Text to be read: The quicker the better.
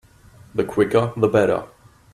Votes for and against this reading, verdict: 2, 0, accepted